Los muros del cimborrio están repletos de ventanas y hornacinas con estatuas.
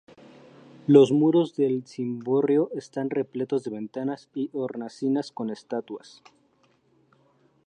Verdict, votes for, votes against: rejected, 2, 2